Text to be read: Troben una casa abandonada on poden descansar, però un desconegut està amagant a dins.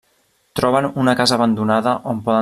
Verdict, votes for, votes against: rejected, 0, 3